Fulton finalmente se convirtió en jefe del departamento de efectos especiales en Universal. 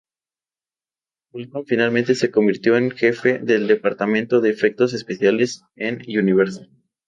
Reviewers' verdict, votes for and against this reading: rejected, 0, 2